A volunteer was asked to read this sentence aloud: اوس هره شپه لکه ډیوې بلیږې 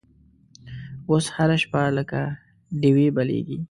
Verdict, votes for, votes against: accepted, 2, 0